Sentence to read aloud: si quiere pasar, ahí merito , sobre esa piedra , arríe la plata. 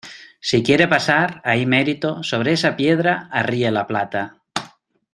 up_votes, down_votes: 2, 0